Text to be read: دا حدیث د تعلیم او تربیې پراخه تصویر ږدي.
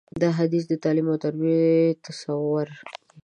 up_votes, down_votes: 0, 2